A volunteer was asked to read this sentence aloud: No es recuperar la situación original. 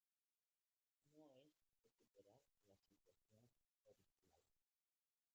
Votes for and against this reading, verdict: 0, 2, rejected